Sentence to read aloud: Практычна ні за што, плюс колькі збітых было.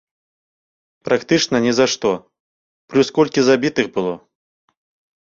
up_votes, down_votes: 0, 2